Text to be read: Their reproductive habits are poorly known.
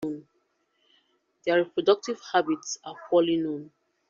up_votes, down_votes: 2, 0